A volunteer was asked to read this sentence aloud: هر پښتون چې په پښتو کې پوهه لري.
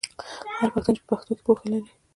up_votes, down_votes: 2, 1